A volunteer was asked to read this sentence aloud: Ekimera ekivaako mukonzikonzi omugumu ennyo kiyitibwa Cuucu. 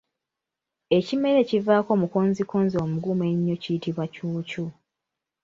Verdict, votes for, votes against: accepted, 2, 1